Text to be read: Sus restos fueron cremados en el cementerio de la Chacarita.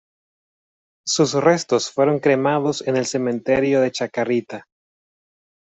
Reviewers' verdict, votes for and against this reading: rejected, 1, 2